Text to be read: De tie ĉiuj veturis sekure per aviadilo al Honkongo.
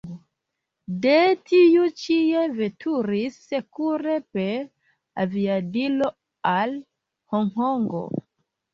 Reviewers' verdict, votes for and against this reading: rejected, 1, 2